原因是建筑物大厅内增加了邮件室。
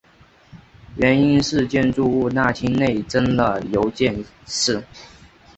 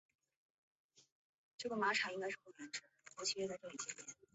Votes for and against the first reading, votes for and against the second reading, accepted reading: 2, 1, 1, 4, first